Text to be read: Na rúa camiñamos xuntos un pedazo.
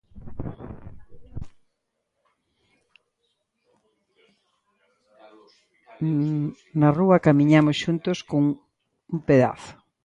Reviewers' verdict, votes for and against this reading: rejected, 0, 2